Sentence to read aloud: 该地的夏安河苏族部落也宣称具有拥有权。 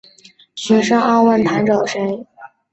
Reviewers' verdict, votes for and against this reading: rejected, 3, 7